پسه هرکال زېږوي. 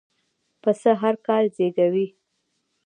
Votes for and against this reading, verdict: 2, 1, accepted